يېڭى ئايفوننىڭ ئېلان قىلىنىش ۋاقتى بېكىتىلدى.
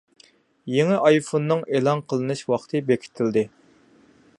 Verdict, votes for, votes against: accepted, 2, 0